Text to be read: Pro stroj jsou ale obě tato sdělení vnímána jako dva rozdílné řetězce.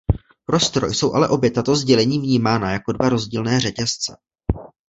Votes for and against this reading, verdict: 2, 1, accepted